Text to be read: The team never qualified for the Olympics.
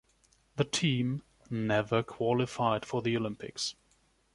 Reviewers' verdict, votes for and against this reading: accepted, 2, 0